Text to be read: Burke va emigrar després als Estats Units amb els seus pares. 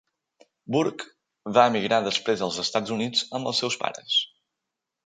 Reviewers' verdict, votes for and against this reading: accepted, 3, 0